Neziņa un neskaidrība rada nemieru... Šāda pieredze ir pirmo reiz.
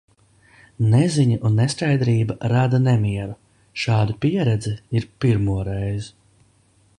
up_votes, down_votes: 1, 2